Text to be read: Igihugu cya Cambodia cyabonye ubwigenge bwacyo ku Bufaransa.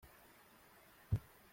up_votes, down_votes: 0, 2